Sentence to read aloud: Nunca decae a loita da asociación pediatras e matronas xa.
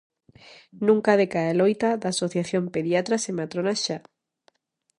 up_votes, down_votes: 2, 0